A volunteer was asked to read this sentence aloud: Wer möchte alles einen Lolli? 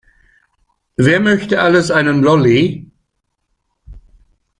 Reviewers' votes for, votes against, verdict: 2, 0, accepted